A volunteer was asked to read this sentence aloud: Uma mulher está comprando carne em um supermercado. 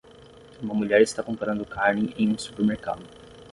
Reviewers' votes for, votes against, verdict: 3, 3, rejected